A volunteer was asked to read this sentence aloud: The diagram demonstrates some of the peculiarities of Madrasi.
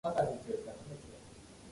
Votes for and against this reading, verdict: 1, 2, rejected